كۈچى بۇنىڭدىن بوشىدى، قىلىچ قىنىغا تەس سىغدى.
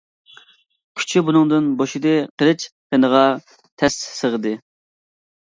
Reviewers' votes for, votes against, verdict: 0, 2, rejected